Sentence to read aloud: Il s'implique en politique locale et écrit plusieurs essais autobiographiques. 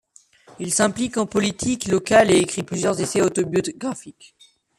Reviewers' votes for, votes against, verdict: 2, 1, accepted